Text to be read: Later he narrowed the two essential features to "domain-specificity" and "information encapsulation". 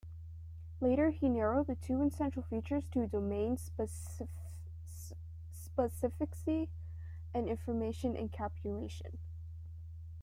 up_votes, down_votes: 0, 2